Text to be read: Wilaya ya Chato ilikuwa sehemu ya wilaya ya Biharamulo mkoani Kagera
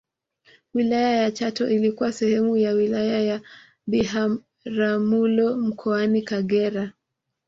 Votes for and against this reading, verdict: 2, 0, accepted